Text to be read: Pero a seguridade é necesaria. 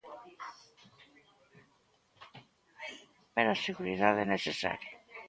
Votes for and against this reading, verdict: 2, 0, accepted